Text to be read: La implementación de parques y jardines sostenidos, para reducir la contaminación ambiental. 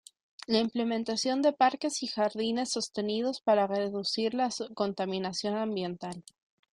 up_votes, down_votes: 0, 2